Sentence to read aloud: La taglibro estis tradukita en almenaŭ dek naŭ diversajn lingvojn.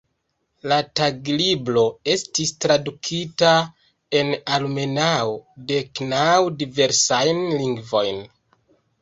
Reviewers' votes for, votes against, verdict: 0, 2, rejected